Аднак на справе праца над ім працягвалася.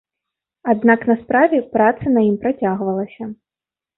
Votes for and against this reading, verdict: 0, 2, rejected